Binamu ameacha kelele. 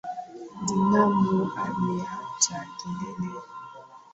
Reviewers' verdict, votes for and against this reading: accepted, 2, 0